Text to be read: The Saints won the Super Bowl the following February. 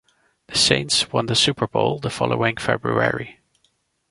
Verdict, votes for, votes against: accepted, 2, 0